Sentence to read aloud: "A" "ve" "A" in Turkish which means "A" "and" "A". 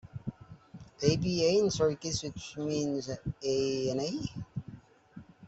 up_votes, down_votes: 1, 2